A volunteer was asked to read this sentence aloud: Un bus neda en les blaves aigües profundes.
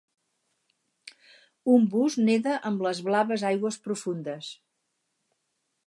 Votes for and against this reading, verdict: 4, 0, accepted